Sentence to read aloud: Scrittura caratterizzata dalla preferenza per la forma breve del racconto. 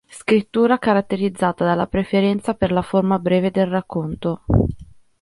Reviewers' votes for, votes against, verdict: 2, 0, accepted